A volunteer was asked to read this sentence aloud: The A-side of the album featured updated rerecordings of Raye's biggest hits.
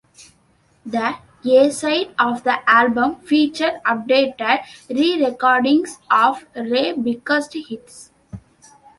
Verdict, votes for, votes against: rejected, 1, 2